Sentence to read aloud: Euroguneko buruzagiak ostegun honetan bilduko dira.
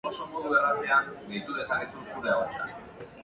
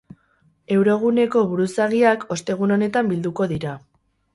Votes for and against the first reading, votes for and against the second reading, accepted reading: 1, 3, 2, 0, second